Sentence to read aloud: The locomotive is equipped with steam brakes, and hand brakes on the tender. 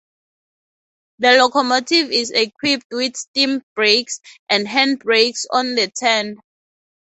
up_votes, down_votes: 0, 4